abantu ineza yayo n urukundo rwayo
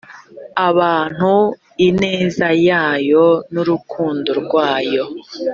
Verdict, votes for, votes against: accepted, 2, 0